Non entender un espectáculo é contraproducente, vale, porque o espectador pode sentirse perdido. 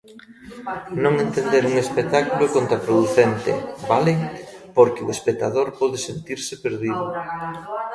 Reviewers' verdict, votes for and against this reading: rejected, 1, 2